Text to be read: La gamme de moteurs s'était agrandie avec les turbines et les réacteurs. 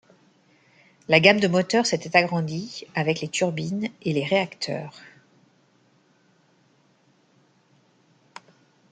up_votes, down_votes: 2, 0